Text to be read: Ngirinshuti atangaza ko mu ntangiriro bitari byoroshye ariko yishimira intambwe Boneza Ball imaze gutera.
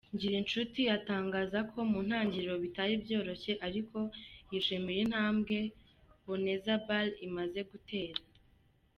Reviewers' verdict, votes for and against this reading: accepted, 2, 0